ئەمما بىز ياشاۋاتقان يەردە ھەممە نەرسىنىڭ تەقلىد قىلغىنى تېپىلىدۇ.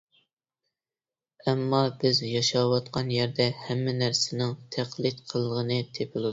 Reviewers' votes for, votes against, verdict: 3, 2, accepted